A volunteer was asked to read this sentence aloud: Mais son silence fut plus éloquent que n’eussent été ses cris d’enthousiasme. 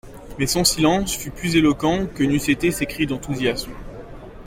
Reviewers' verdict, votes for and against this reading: accepted, 2, 1